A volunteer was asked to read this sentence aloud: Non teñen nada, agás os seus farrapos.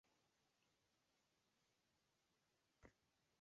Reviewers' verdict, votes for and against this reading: rejected, 0, 2